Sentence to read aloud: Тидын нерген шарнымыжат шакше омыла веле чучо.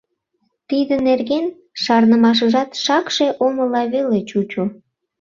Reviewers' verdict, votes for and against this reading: rejected, 1, 2